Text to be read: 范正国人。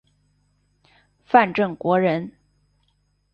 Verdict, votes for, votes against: accepted, 3, 0